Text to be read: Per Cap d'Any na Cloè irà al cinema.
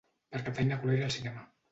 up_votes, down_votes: 0, 2